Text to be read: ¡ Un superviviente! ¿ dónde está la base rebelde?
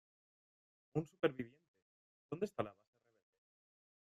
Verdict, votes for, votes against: rejected, 0, 2